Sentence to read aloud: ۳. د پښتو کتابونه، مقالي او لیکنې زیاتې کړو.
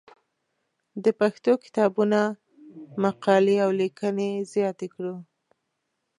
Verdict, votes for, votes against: rejected, 0, 2